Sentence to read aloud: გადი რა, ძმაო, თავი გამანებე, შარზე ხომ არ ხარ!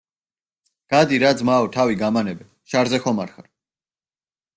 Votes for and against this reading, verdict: 1, 2, rejected